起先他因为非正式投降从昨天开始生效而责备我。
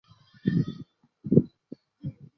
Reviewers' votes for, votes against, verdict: 0, 3, rejected